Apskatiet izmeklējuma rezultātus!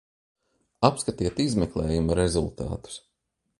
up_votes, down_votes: 3, 0